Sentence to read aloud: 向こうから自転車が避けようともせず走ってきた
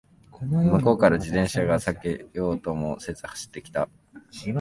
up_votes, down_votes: 2, 0